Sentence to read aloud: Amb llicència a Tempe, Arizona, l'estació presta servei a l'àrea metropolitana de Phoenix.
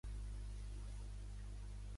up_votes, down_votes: 0, 2